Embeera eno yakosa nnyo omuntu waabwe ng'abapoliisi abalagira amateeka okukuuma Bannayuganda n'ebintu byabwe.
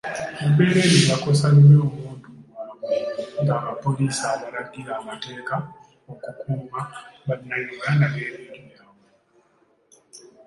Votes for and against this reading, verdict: 1, 2, rejected